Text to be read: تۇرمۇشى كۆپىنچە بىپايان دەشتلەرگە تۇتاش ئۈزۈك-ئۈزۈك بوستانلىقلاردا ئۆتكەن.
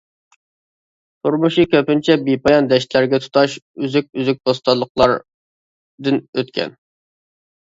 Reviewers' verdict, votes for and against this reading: rejected, 1, 2